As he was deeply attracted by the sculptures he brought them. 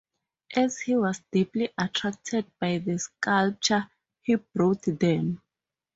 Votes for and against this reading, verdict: 0, 2, rejected